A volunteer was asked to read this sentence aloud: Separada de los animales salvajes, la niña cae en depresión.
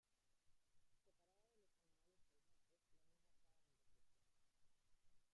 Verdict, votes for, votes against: rejected, 0, 2